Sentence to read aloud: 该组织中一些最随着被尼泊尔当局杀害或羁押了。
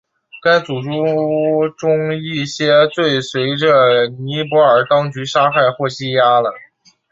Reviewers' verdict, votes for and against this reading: accepted, 6, 3